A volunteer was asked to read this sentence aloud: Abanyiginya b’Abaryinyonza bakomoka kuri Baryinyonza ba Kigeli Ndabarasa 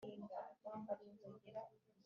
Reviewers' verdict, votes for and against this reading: rejected, 0, 2